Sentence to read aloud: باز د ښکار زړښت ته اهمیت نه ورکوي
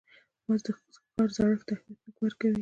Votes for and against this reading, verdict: 1, 2, rejected